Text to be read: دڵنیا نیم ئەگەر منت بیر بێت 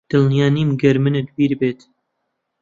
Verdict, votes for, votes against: rejected, 0, 2